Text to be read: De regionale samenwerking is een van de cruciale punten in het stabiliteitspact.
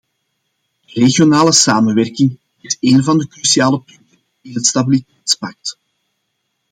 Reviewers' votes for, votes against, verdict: 1, 2, rejected